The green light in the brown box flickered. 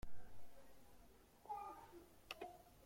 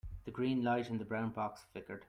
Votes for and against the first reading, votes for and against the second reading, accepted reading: 0, 2, 2, 0, second